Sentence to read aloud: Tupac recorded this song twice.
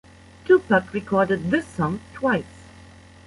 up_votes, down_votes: 2, 1